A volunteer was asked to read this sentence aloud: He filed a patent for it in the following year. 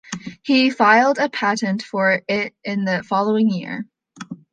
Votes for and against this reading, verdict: 2, 0, accepted